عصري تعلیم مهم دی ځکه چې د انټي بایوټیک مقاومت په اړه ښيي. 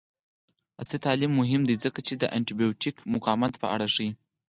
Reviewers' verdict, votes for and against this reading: rejected, 0, 4